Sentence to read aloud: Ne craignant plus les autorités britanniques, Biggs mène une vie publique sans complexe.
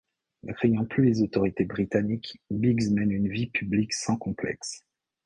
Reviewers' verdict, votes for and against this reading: accepted, 2, 0